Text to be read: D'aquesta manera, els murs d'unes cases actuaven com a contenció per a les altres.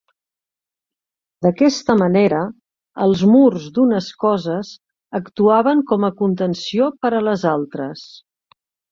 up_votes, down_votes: 0, 2